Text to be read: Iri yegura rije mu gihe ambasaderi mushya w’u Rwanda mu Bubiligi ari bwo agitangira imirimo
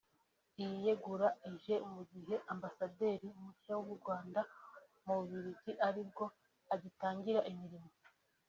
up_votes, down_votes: 2, 0